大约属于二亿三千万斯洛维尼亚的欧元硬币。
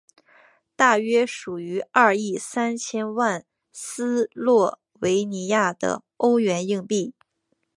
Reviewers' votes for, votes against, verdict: 4, 1, accepted